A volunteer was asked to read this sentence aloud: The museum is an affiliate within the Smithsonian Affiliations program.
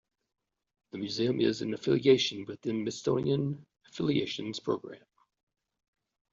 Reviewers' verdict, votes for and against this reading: rejected, 0, 2